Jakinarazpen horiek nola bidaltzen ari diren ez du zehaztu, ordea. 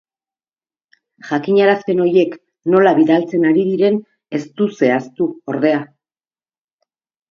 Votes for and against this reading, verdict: 6, 0, accepted